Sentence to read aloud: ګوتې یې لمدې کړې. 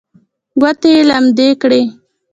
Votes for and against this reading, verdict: 1, 2, rejected